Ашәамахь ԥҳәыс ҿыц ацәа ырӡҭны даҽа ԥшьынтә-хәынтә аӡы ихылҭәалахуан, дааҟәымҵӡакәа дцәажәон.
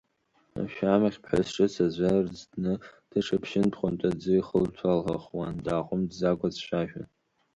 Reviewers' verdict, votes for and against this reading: accepted, 2, 0